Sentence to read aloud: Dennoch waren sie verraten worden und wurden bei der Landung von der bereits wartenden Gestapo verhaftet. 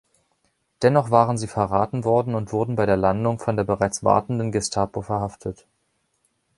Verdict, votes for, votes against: accepted, 2, 0